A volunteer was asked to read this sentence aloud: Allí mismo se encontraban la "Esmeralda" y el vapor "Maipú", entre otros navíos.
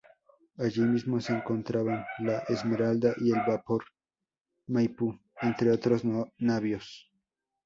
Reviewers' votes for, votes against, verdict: 0, 2, rejected